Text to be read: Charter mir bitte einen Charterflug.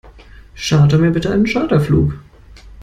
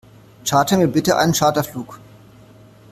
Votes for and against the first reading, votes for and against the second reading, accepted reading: 2, 0, 0, 2, first